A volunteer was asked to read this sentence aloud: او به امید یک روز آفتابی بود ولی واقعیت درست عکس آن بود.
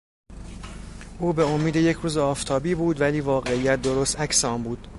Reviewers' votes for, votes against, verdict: 2, 0, accepted